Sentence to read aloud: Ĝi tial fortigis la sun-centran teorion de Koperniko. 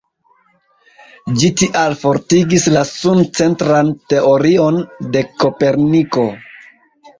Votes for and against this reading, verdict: 1, 2, rejected